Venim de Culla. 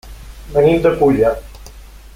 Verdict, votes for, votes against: rejected, 0, 2